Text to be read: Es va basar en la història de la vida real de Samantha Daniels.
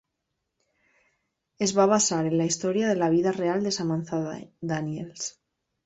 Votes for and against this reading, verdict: 3, 1, accepted